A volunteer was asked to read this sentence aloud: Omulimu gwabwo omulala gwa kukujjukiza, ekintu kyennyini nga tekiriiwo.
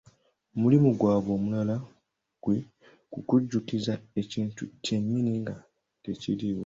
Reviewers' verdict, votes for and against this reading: rejected, 0, 2